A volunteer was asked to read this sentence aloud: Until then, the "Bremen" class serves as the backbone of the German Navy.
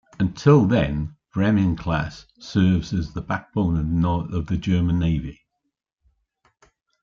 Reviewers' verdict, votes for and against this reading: rejected, 1, 2